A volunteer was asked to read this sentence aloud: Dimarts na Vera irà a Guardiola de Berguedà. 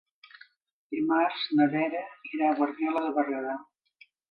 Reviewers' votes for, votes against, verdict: 2, 0, accepted